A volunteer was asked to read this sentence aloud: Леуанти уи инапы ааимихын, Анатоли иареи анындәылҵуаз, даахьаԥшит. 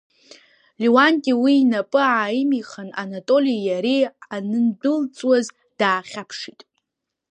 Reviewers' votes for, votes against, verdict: 2, 0, accepted